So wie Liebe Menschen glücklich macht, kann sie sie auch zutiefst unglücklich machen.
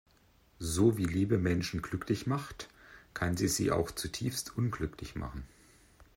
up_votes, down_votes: 2, 0